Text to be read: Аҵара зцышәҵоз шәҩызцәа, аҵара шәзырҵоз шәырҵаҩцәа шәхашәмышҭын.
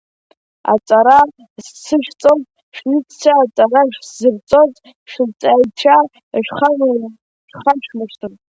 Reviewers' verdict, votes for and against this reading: rejected, 0, 2